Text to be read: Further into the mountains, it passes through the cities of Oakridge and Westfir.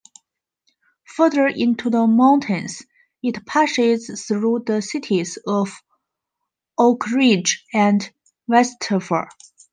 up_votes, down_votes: 1, 2